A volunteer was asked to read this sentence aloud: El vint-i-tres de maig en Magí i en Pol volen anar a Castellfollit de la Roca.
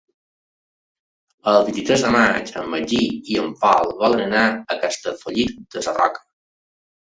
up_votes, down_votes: 2, 1